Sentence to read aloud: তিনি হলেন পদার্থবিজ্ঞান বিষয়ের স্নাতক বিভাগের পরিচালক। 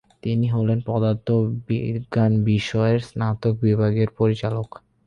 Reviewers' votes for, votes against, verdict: 8, 0, accepted